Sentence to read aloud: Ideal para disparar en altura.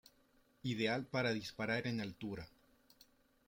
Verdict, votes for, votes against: accepted, 2, 0